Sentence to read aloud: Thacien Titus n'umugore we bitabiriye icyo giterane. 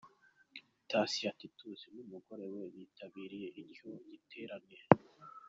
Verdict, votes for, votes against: accepted, 2, 1